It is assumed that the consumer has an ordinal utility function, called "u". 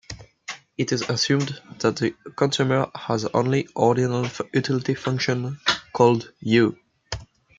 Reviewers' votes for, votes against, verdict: 1, 2, rejected